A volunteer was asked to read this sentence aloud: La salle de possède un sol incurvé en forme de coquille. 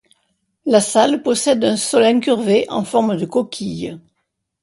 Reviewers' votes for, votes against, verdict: 0, 2, rejected